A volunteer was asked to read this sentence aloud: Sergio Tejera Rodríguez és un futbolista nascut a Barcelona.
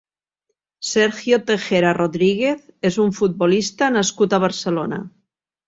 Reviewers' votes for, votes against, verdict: 4, 0, accepted